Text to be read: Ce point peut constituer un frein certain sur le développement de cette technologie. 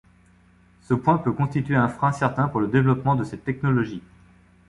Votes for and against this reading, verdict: 1, 2, rejected